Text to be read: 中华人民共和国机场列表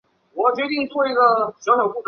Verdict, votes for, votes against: accepted, 3, 1